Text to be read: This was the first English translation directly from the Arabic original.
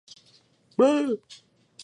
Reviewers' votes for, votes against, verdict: 0, 2, rejected